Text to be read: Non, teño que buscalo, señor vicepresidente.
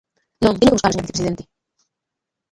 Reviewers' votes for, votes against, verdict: 0, 2, rejected